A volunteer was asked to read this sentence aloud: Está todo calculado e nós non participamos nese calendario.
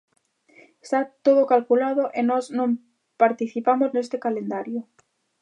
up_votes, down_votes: 0, 2